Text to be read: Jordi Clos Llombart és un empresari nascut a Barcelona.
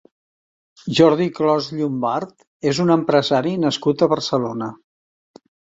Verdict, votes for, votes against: accepted, 3, 0